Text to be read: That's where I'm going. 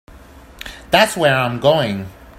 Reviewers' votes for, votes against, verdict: 0, 2, rejected